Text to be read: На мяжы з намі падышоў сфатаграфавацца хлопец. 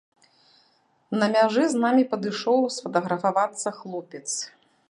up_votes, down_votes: 3, 0